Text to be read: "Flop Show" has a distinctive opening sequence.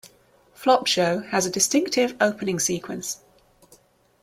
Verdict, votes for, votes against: accepted, 2, 0